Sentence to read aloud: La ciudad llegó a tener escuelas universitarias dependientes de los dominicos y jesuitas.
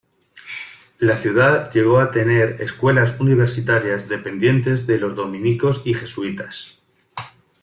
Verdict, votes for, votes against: accepted, 2, 0